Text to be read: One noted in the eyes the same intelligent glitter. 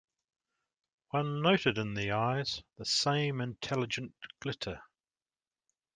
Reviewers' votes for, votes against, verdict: 2, 0, accepted